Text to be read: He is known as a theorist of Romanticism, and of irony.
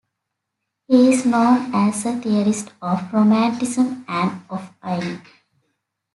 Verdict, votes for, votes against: rejected, 0, 2